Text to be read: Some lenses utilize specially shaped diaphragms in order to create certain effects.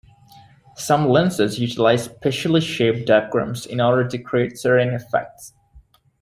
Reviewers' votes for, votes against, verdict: 1, 2, rejected